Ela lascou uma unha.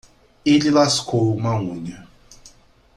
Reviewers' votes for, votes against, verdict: 1, 2, rejected